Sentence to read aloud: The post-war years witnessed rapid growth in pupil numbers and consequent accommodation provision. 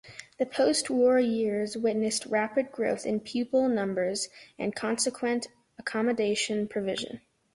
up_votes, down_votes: 2, 0